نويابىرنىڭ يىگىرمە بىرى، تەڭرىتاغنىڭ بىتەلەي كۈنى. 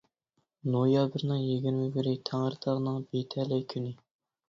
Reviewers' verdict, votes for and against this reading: rejected, 0, 2